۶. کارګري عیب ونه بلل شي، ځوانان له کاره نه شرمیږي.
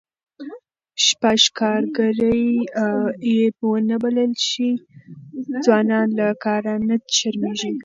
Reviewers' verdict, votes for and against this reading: rejected, 0, 2